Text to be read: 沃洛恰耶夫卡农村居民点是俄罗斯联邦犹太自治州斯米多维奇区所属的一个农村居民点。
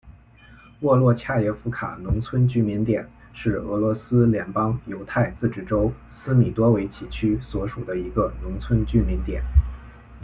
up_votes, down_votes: 2, 0